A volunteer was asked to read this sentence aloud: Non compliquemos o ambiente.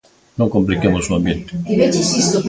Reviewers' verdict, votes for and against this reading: rejected, 0, 2